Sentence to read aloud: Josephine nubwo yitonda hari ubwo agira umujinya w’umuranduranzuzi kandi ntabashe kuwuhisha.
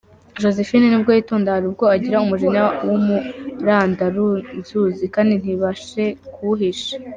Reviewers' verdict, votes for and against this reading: rejected, 0, 2